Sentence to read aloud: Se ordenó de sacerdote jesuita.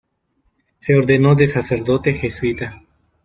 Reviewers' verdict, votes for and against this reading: accepted, 2, 0